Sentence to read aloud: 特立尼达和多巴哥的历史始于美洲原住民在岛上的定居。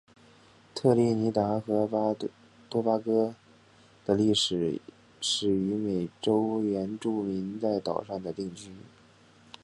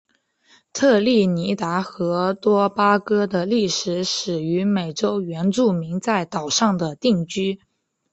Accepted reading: second